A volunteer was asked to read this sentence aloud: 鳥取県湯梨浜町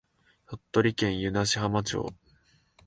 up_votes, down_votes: 2, 0